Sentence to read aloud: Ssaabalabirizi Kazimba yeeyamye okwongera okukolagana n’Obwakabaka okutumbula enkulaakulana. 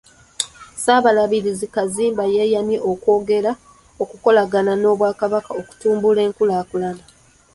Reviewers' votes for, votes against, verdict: 0, 2, rejected